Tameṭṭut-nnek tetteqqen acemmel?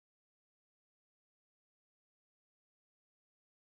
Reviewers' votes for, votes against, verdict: 0, 2, rejected